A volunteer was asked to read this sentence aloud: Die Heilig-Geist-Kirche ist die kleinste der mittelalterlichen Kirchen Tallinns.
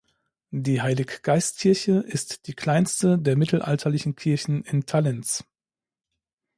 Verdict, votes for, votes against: rejected, 0, 2